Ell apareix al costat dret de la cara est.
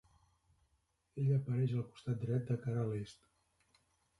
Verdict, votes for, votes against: rejected, 0, 3